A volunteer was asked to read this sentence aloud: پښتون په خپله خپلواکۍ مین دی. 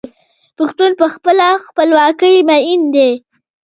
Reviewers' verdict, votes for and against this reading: rejected, 0, 2